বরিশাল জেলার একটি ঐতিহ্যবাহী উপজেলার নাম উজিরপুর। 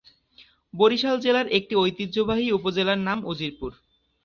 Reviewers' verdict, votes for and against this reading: accepted, 4, 0